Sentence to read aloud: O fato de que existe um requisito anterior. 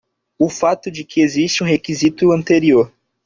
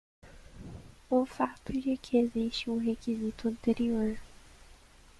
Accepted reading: first